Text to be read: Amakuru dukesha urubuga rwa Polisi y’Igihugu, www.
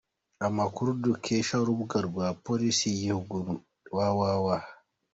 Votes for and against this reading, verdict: 2, 0, accepted